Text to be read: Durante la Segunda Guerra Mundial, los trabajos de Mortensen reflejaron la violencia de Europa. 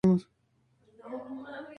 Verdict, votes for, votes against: rejected, 0, 2